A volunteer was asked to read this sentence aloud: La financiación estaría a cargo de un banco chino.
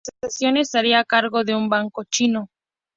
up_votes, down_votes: 0, 2